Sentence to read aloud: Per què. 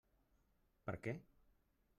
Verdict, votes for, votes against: accepted, 3, 0